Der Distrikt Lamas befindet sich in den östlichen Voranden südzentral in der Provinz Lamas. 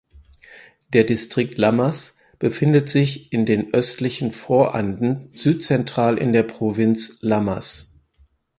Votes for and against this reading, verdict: 4, 0, accepted